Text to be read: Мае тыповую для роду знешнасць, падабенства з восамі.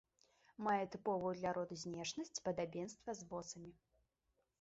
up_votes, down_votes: 1, 2